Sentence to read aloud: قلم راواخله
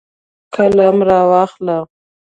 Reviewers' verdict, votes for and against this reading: rejected, 1, 2